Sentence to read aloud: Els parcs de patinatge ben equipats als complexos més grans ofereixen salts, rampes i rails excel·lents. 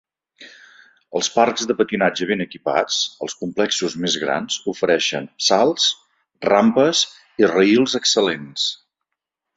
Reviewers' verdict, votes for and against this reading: accepted, 2, 0